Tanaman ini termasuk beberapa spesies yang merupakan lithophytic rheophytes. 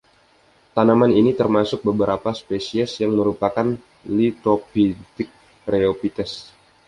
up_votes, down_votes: 2, 0